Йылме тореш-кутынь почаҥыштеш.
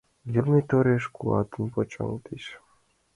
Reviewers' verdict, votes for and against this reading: rejected, 0, 2